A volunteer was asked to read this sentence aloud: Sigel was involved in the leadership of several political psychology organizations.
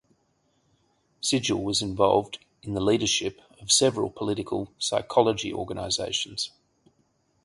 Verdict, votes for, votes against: accepted, 4, 0